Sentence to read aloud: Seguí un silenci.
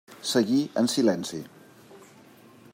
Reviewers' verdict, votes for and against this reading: rejected, 1, 2